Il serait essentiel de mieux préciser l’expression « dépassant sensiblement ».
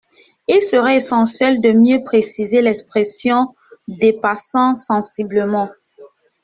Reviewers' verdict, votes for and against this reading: accepted, 2, 0